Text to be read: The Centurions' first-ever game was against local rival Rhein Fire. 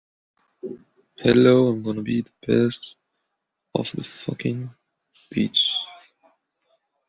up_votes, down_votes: 1, 2